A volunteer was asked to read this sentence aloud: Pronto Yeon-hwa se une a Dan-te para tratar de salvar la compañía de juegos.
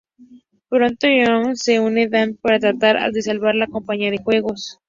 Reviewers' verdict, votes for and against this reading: accepted, 2, 0